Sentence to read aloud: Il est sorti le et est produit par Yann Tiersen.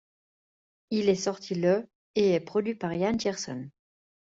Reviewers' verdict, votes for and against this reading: accepted, 2, 0